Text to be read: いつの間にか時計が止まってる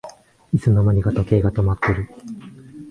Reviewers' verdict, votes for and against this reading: accepted, 3, 0